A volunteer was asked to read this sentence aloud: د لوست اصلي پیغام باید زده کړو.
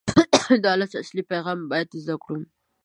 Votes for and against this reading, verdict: 0, 2, rejected